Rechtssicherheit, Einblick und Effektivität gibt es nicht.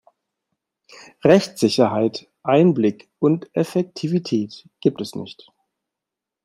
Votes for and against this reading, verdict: 2, 0, accepted